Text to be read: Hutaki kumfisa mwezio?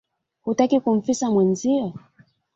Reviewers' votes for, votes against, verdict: 2, 0, accepted